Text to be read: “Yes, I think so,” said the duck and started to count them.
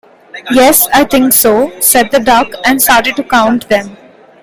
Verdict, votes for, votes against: accepted, 2, 0